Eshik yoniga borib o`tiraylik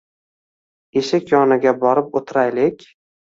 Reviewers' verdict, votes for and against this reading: accepted, 2, 0